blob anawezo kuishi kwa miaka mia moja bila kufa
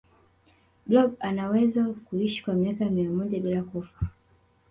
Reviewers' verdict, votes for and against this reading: rejected, 1, 2